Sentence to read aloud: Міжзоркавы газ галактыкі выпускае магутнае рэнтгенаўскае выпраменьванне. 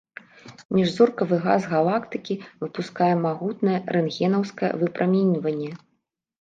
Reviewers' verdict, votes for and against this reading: rejected, 1, 2